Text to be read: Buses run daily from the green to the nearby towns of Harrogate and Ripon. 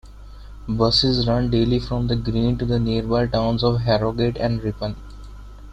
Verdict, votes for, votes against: accepted, 2, 0